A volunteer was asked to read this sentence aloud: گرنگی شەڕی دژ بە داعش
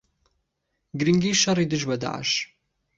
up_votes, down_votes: 2, 1